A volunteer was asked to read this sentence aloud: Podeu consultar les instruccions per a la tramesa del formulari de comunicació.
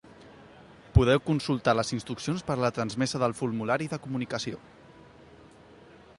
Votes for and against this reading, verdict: 1, 2, rejected